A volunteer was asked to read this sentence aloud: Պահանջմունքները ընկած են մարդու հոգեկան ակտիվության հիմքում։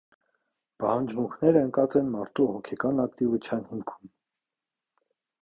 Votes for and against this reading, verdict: 1, 2, rejected